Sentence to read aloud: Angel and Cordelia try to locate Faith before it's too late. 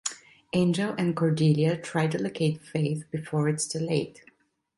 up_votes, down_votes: 2, 0